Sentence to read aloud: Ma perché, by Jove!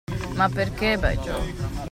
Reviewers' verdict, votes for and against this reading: accepted, 2, 0